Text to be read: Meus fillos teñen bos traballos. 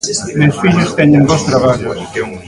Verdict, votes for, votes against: rejected, 1, 2